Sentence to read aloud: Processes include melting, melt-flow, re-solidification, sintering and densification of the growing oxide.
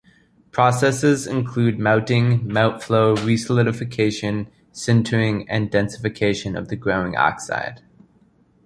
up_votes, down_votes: 2, 0